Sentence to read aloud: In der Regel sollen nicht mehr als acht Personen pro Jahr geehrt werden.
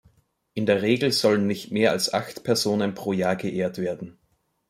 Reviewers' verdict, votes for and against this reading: accepted, 2, 1